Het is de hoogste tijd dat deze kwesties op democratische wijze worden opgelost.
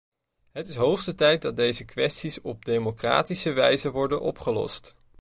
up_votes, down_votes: 1, 2